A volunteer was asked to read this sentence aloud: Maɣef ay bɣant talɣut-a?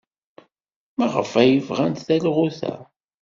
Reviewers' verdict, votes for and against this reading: accepted, 2, 0